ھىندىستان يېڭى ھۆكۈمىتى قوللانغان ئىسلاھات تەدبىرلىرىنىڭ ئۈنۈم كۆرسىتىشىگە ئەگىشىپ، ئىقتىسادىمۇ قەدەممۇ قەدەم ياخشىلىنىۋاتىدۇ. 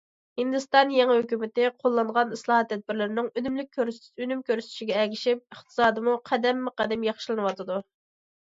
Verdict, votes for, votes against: rejected, 1, 2